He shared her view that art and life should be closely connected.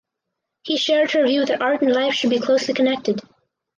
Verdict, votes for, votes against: rejected, 2, 2